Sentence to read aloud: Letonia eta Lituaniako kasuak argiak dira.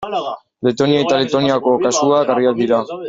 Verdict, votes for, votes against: rejected, 0, 2